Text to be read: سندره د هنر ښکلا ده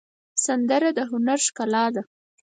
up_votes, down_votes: 4, 0